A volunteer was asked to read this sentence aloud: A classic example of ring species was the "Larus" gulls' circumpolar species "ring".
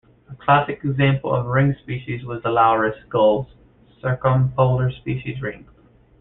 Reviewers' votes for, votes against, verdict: 0, 2, rejected